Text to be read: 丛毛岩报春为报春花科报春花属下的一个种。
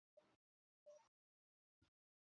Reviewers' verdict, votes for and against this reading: rejected, 1, 2